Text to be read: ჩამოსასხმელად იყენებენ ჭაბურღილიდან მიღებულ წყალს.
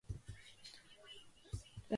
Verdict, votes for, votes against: rejected, 1, 3